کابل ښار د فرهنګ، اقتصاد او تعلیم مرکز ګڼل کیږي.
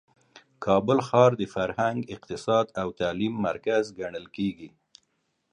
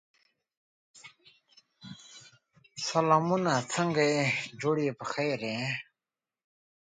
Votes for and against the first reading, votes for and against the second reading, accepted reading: 2, 0, 0, 3, first